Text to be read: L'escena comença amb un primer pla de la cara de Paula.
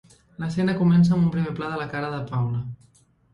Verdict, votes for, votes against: accepted, 2, 0